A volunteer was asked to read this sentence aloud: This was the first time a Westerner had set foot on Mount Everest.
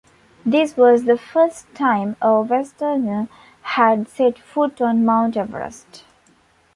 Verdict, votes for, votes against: accepted, 2, 0